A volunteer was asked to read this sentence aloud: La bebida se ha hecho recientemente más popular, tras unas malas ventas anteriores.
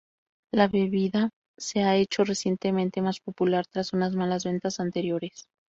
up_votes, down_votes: 2, 0